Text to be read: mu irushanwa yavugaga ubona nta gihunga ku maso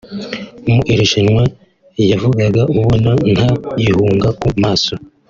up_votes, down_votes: 2, 0